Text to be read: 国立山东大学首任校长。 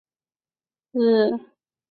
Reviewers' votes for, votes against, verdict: 0, 6, rejected